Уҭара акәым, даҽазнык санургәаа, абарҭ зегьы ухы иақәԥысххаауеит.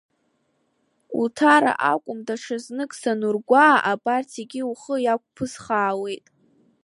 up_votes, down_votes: 2, 0